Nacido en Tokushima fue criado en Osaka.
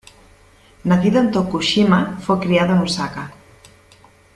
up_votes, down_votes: 2, 0